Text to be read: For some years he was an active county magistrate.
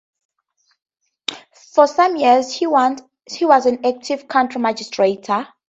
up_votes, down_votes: 2, 4